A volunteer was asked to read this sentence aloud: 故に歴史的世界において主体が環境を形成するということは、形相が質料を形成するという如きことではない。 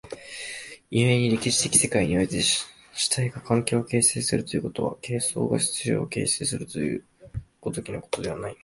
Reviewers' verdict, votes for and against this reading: rejected, 0, 2